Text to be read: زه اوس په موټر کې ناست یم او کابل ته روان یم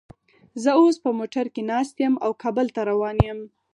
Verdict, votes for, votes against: rejected, 2, 4